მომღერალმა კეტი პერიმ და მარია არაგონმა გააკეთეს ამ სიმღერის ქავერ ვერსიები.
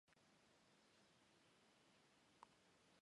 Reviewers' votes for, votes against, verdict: 1, 2, rejected